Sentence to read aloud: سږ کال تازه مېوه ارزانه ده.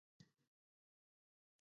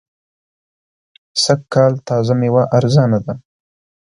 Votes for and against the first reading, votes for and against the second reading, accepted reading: 0, 2, 2, 0, second